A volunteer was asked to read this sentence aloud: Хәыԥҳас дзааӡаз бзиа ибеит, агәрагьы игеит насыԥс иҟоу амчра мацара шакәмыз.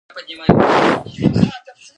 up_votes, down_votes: 0, 2